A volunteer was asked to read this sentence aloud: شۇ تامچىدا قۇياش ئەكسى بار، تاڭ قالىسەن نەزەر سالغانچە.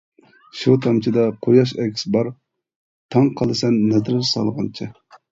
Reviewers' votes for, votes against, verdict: 0, 2, rejected